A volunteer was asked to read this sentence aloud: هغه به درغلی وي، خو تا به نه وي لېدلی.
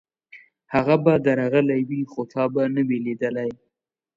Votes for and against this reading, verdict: 2, 0, accepted